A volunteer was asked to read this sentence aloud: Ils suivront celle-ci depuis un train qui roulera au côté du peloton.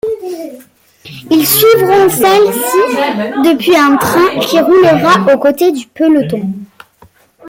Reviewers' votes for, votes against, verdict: 2, 1, accepted